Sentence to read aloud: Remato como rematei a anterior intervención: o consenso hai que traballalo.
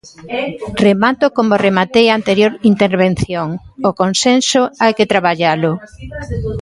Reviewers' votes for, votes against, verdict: 1, 2, rejected